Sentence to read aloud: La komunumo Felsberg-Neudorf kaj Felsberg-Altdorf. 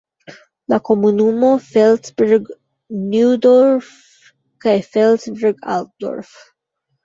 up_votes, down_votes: 0, 3